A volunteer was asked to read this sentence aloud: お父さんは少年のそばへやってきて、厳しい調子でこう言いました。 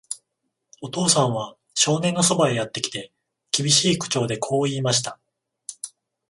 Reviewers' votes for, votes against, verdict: 0, 14, rejected